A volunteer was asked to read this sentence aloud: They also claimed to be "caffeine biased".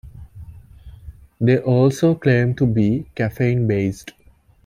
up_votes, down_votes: 2, 0